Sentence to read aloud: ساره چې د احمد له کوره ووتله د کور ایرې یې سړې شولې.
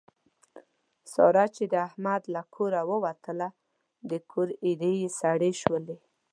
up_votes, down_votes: 2, 0